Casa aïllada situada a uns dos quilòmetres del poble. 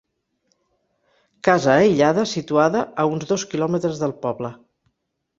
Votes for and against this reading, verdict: 0, 4, rejected